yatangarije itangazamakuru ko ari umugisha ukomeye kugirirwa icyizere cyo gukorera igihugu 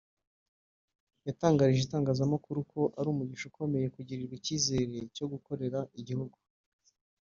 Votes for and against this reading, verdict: 1, 2, rejected